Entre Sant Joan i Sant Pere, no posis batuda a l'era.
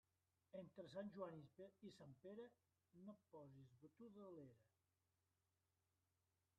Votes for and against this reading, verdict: 1, 2, rejected